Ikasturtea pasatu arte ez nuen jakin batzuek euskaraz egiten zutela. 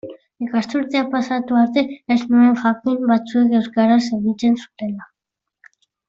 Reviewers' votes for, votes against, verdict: 2, 0, accepted